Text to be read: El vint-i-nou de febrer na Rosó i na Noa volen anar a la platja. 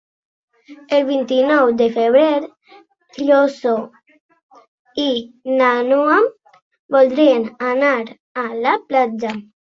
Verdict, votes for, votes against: rejected, 0, 2